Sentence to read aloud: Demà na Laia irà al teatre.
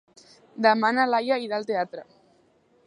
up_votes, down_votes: 2, 0